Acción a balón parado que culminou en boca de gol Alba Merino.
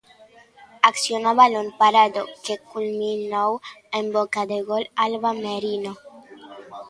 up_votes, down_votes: 2, 0